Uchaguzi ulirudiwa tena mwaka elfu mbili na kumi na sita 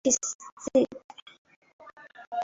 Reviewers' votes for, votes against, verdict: 0, 2, rejected